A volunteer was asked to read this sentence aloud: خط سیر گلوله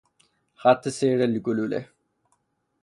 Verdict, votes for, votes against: rejected, 0, 3